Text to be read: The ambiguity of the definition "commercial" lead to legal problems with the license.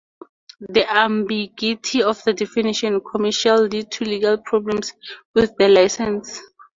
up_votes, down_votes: 4, 0